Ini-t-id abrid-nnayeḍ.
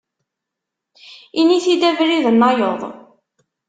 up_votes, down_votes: 2, 0